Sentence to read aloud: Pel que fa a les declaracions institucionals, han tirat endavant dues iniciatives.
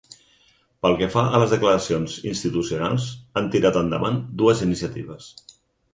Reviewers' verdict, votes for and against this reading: accepted, 6, 0